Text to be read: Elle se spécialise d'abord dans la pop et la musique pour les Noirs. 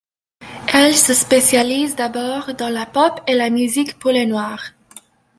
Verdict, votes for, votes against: accepted, 2, 0